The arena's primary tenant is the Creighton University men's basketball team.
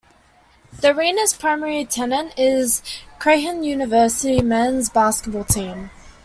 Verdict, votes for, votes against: rejected, 0, 2